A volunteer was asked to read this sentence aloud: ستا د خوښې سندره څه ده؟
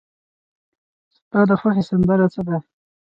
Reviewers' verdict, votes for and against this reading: rejected, 0, 2